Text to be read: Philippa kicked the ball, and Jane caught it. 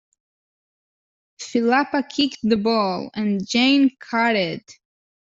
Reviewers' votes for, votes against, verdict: 0, 2, rejected